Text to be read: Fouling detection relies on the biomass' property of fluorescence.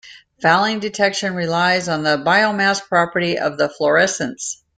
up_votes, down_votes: 1, 2